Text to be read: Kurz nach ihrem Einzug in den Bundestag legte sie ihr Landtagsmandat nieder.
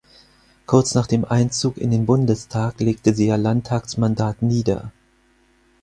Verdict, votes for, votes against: rejected, 0, 4